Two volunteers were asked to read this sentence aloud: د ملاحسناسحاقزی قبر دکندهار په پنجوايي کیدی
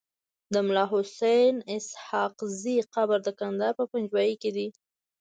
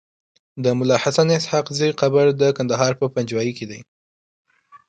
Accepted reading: second